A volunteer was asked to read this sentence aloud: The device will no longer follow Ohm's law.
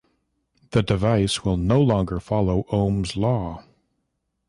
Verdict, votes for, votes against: accepted, 2, 0